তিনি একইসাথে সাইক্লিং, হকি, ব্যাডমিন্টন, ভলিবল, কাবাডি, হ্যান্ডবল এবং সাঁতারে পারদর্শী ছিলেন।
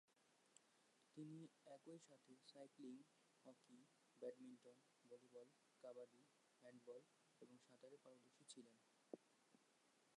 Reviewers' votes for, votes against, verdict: 0, 2, rejected